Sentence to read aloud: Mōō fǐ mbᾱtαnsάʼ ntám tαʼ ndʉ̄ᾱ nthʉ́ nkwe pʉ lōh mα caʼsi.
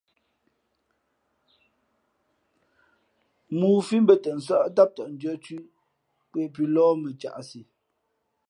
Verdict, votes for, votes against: rejected, 1, 2